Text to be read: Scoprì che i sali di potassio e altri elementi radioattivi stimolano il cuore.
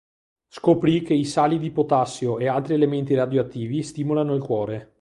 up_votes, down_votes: 2, 0